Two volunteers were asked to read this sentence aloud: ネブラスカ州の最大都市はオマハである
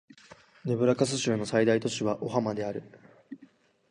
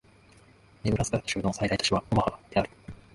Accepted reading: first